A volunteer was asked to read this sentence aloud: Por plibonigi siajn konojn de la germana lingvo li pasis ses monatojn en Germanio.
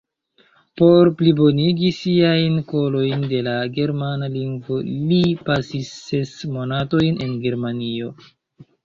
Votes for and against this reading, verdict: 0, 2, rejected